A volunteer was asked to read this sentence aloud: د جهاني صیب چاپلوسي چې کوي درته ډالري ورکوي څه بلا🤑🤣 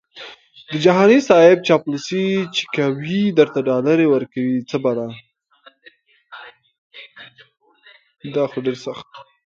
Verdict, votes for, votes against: accepted, 2, 1